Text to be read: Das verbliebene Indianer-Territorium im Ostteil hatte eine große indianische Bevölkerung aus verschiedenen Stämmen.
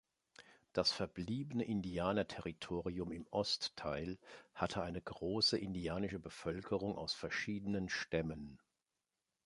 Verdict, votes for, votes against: accepted, 2, 0